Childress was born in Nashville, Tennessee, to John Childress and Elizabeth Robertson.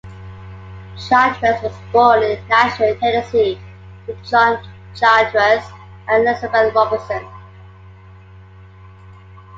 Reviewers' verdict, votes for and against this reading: accepted, 2, 1